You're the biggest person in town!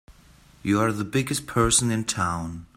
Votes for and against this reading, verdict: 1, 2, rejected